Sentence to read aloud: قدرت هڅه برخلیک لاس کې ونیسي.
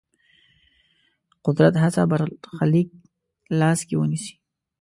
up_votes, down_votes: 1, 2